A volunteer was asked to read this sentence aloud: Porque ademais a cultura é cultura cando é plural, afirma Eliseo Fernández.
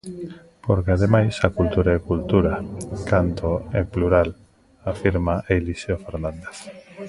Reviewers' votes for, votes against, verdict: 1, 2, rejected